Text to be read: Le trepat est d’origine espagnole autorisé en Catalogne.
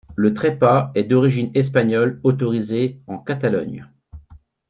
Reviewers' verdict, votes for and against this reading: accepted, 2, 0